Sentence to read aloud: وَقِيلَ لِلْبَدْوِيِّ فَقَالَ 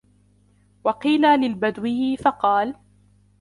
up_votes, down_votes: 2, 1